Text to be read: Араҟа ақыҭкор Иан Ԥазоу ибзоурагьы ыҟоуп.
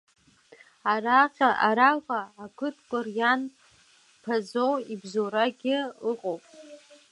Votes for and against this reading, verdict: 1, 2, rejected